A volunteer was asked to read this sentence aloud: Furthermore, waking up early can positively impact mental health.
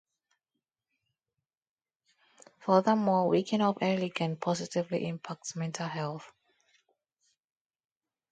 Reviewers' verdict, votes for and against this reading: accepted, 2, 0